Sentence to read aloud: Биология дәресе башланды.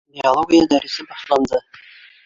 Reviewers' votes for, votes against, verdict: 3, 1, accepted